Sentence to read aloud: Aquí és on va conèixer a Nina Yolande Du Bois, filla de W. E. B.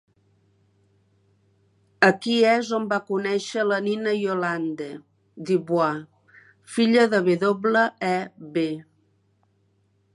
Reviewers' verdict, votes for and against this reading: rejected, 0, 2